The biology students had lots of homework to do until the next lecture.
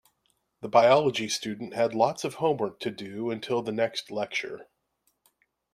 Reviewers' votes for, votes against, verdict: 2, 0, accepted